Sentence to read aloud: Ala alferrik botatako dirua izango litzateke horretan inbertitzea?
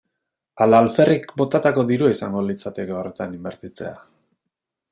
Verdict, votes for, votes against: accepted, 2, 0